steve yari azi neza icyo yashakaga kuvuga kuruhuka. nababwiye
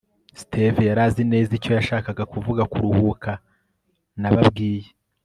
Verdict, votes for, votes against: accepted, 3, 0